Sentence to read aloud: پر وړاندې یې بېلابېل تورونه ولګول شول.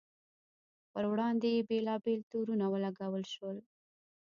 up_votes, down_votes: 2, 1